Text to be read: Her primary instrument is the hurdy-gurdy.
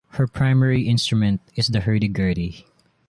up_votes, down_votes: 2, 0